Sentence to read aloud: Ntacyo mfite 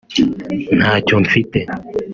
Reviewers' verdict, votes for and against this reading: accepted, 2, 0